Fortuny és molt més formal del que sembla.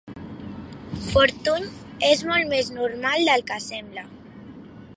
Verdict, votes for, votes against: rejected, 0, 2